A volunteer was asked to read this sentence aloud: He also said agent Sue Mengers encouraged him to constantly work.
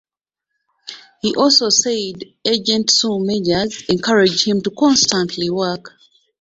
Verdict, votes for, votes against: accepted, 2, 0